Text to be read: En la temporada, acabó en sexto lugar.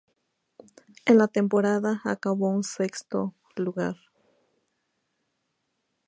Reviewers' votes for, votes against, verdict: 2, 0, accepted